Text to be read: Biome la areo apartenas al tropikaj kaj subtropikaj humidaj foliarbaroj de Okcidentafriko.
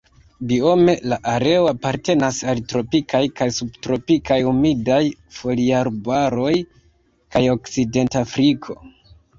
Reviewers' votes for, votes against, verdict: 0, 2, rejected